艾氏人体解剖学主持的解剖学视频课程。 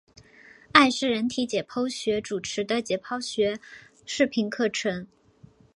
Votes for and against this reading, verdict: 3, 0, accepted